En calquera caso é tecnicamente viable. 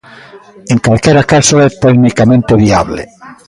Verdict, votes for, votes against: rejected, 0, 2